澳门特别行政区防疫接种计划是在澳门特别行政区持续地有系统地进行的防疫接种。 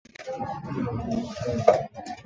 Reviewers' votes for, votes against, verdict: 0, 3, rejected